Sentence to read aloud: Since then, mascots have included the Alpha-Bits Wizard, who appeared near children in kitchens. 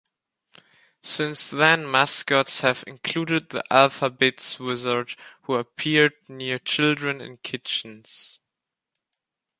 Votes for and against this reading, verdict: 2, 1, accepted